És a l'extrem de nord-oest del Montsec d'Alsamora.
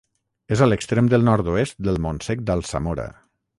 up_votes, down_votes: 3, 3